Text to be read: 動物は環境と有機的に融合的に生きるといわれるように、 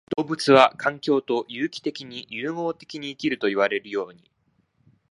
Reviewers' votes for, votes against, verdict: 0, 2, rejected